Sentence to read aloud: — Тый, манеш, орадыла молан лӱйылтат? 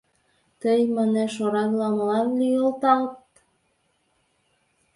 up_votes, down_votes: 1, 2